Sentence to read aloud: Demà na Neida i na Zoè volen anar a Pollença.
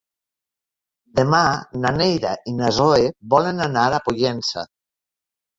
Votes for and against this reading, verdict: 0, 2, rejected